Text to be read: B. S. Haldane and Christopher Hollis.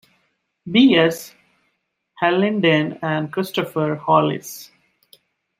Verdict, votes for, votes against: rejected, 0, 2